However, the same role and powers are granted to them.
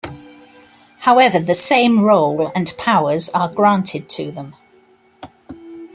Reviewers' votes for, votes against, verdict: 3, 0, accepted